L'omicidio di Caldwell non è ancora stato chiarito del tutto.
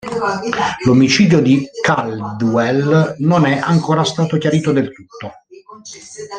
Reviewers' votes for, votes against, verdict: 1, 3, rejected